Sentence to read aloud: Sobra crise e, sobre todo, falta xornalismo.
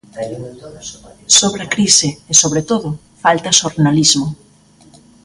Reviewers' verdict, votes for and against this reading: accepted, 2, 1